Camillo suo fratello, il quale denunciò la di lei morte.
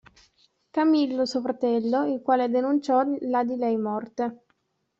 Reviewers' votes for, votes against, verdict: 2, 0, accepted